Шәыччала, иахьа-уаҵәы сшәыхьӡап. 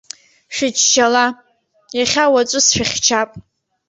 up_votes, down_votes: 0, 2